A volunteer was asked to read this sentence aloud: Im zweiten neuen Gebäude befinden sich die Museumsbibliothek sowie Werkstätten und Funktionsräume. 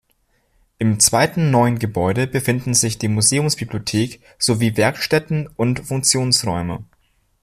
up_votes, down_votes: 2, 0